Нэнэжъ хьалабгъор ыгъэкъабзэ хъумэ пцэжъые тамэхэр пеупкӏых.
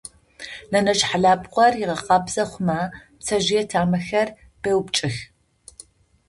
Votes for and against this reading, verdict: 2, 0, accepted